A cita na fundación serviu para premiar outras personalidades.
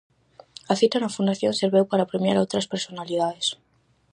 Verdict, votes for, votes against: rejected, 2, 2